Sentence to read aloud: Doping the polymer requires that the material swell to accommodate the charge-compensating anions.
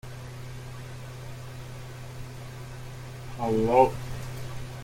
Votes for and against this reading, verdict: 0, 2, rejected